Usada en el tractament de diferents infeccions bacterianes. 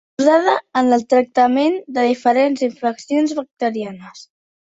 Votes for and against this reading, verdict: 1, 2, rejected